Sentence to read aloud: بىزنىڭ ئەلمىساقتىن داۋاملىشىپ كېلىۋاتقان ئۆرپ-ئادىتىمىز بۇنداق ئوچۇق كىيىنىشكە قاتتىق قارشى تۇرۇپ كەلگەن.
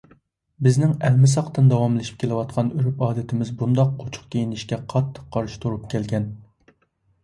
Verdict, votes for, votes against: accepted, 2, 0